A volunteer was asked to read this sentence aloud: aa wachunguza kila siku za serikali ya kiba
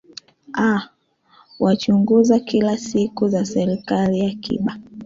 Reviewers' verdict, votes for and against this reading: accepted, 2, 1